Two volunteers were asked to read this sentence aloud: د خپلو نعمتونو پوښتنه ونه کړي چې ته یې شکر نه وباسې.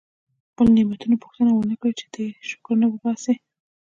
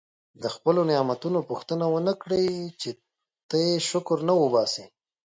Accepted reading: second